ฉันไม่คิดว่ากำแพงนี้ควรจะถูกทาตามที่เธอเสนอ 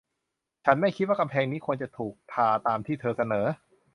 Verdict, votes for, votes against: accepted, 2, 1